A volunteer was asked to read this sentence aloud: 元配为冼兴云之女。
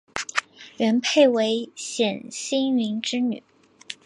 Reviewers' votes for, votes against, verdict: 2, 0, accepted